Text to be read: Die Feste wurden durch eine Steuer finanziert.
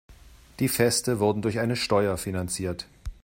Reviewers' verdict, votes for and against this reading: accepted, 2, 0